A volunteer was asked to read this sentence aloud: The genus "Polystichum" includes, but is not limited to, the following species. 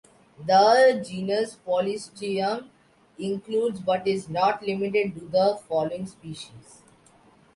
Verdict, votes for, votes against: accepted, 2, 1